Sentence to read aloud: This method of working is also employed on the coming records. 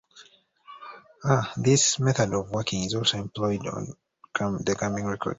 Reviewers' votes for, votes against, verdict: 1, 2, rejected